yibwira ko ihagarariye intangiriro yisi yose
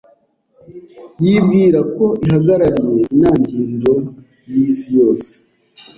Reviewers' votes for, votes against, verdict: 2, 0, accepted